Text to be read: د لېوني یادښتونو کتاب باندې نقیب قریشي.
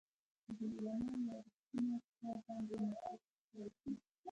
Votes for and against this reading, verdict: 1, 2, rejected